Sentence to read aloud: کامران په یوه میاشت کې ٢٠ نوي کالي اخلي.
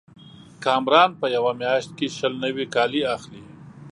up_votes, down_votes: 0, 2